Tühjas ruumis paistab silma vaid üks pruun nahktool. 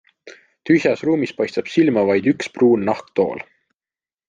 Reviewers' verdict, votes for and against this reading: accepted, 2, 0